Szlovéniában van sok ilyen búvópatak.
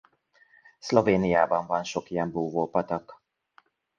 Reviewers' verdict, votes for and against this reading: accepted, 2, 0